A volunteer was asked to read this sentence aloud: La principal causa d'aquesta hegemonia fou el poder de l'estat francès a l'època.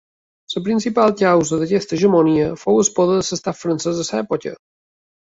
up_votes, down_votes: 1, 2